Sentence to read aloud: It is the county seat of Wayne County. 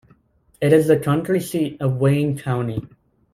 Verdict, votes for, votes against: rejected, 0, 2